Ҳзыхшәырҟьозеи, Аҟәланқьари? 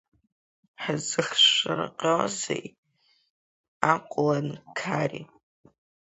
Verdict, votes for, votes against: rejected, 0, 2